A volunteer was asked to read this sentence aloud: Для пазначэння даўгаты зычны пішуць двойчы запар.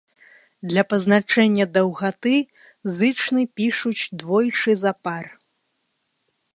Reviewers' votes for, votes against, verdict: 1, 2, rejected